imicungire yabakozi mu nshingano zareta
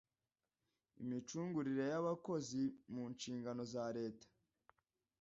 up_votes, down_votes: 1, 2